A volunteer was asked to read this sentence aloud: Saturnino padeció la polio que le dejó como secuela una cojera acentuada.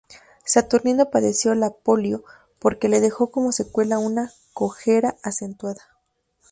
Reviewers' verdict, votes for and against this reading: rejected, 0, 2